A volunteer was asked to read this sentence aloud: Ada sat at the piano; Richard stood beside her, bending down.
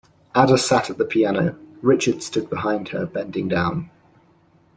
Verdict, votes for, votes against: rejected, 0, 2